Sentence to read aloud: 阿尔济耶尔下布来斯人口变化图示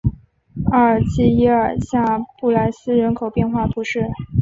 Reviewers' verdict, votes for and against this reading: accepted, 6, 0